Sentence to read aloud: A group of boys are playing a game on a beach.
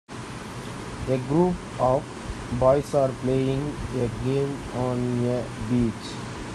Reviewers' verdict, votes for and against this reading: rejected, 0, 2